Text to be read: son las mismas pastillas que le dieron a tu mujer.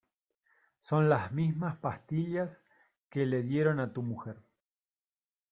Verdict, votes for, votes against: accepted, 2, 1